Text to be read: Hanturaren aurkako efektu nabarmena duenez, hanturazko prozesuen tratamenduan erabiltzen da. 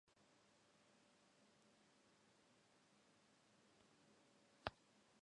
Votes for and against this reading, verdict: 0, 2, rejected